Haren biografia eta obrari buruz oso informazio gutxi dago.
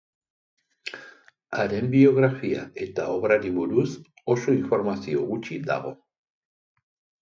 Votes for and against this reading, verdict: 2, 0, accepted